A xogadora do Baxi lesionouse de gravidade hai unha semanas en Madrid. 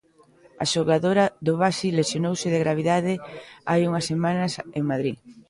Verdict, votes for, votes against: accepted, 2, 0